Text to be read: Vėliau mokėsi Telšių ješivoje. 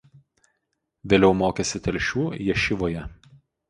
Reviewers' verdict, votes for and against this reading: accepted, 4, 0